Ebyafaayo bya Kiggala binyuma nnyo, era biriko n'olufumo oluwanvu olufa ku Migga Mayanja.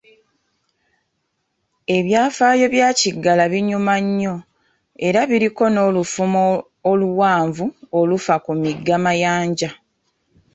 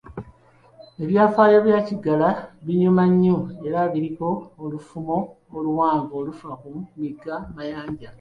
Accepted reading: first